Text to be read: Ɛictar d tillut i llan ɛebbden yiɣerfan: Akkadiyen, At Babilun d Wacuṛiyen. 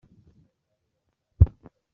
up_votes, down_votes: 0, 2